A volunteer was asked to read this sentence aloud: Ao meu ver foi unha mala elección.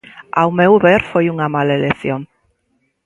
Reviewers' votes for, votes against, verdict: 2, 0, accepted